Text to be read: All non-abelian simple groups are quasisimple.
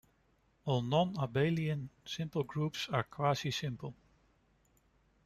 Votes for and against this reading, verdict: 2, 0, accepted